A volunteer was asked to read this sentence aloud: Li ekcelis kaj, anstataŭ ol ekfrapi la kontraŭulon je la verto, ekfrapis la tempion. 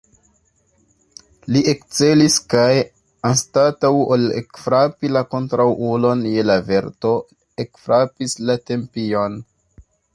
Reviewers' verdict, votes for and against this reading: accepted, 2, 1